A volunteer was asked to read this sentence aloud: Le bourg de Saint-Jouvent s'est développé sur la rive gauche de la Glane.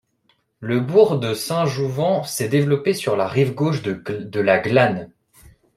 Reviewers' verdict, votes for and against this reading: rejected, 0, 2